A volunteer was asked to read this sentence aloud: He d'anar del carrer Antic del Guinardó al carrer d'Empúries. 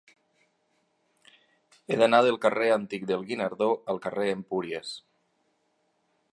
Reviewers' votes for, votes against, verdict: 1, 2, rejected